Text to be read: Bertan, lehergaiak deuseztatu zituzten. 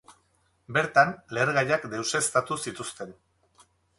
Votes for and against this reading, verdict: 2, 0, accepted